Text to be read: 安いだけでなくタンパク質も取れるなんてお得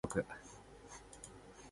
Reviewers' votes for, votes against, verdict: 1, 2, rejected